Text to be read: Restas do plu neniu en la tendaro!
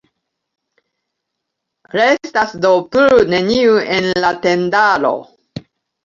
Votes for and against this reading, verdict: 0, 2, rejected